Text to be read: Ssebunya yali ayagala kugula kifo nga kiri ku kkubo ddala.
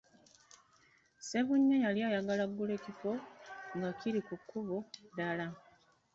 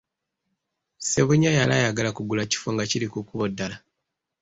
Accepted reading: second